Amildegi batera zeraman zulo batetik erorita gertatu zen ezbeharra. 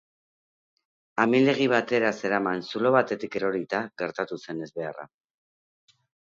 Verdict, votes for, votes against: accepted, 2, 0